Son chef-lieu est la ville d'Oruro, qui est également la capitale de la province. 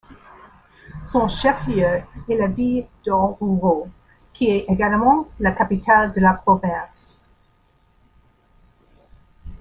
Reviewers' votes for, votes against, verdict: 2, 0, accepted